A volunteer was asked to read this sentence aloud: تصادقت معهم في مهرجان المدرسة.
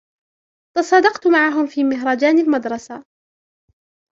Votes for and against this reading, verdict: 2, 1, accepted